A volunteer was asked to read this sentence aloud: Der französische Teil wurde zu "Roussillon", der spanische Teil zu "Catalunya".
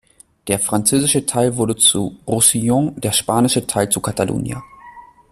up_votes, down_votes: 2, 0